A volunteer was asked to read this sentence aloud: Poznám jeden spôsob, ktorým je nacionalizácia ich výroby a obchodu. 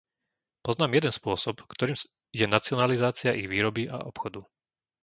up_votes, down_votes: 0, 2